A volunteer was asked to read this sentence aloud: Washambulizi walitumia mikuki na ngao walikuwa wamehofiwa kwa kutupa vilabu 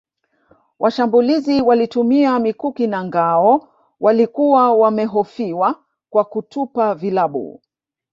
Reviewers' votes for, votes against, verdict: 1, 2, rejected